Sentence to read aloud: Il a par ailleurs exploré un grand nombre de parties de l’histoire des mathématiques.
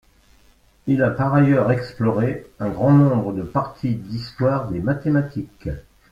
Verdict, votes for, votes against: accepted, 2, 1